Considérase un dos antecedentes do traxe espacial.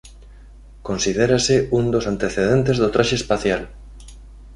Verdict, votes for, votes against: accepted, 2, 0